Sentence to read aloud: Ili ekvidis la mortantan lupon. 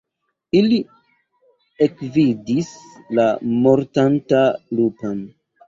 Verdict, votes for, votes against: rejected, 0, 2